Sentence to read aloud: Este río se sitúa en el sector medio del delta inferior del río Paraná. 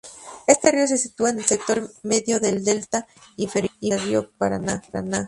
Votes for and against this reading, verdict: 0, 2, rejected